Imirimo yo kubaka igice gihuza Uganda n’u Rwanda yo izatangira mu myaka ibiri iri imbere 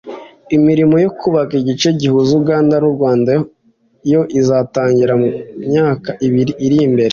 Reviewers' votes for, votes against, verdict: 2, 1, accepted